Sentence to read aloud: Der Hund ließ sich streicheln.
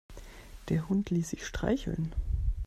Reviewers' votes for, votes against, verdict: 2, 0, accepted